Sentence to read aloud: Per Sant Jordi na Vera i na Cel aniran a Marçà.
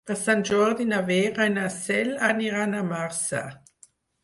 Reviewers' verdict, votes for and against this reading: accepted, 4, 0